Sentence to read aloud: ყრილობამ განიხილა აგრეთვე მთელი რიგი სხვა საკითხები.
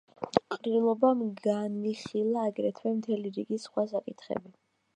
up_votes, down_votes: 2, 0